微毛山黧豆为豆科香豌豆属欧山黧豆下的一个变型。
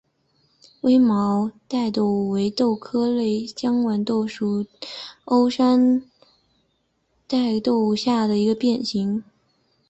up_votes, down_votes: 2, 1